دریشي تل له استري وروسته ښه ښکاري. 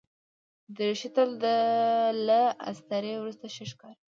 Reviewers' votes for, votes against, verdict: 0, 2, rejected